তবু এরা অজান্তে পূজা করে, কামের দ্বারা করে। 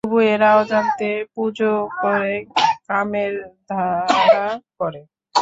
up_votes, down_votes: 0, 3